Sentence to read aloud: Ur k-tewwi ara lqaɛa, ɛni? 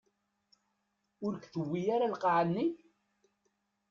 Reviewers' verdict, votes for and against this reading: rejected, 0, 2